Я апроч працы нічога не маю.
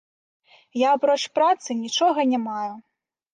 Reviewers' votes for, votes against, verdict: 0, 2, rejected